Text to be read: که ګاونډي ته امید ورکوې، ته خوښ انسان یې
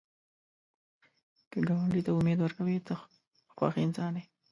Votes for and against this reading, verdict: 0, 2, rejected